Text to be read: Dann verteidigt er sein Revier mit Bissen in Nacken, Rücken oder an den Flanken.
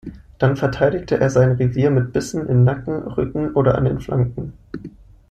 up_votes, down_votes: 1, 2